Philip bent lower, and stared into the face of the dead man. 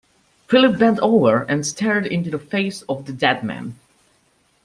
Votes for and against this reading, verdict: 0, 2, rejected